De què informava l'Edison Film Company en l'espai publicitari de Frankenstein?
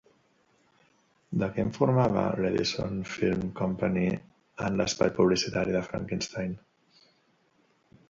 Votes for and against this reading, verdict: 0, 2, rejected